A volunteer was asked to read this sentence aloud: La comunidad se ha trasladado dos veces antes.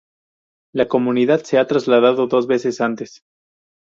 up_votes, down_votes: 2, 0